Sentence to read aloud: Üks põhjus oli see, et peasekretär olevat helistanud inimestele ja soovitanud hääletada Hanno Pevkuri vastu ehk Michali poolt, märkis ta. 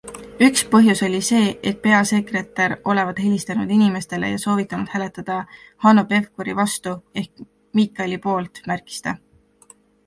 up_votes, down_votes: 2, 0